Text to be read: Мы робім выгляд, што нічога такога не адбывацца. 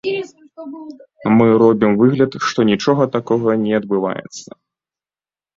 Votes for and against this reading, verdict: 1, 2, rejected